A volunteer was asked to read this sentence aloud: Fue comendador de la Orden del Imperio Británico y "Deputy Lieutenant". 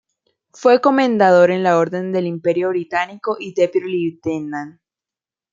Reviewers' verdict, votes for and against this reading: rejected, 0, 2